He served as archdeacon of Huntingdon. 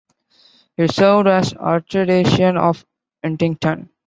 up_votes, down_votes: 2, 1